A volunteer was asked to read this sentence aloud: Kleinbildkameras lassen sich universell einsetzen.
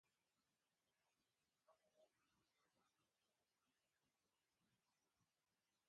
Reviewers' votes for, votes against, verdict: 0, 2, rejected